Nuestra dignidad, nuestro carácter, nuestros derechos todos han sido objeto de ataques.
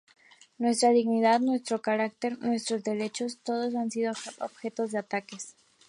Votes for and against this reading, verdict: 2, 0, accepted